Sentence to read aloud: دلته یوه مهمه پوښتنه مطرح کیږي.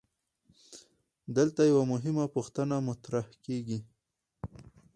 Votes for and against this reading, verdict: 0, 2, rejected